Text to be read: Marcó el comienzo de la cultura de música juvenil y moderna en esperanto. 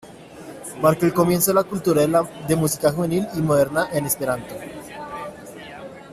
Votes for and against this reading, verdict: 0, 2, rejected